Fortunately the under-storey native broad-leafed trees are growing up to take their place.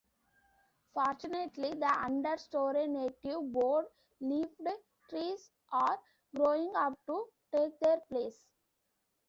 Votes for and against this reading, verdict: 0, 2, rejected